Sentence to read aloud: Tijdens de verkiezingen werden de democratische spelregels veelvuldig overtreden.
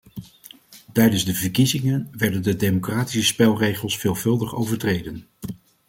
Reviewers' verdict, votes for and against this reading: accepted, 2, 1